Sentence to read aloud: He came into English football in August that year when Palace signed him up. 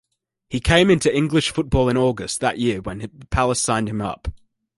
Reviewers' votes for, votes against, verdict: 1, 2, rejected